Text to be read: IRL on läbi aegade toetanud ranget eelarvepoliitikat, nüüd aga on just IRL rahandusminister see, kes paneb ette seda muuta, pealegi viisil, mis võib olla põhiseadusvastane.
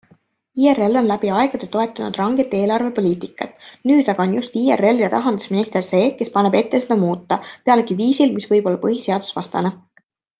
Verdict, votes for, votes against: accepted, 2, 0